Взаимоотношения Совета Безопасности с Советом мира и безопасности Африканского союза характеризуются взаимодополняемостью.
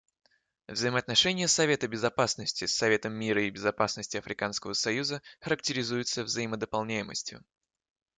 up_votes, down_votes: 2, 0